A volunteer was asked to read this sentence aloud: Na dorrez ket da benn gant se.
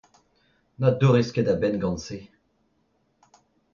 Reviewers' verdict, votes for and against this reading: rejected, 1, 2